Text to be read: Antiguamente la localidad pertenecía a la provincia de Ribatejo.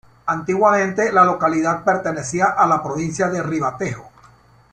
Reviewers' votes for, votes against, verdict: 2, 0, accepted